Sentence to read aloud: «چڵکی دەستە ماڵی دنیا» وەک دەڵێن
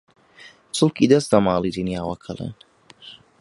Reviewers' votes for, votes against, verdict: 1, 2, rejected